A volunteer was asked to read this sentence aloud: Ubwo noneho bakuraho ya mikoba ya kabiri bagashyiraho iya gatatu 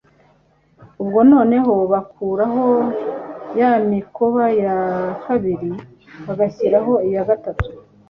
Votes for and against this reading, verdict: 2, 0, accepted